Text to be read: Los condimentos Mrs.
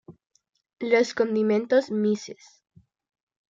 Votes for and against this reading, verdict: 2, 0, accepted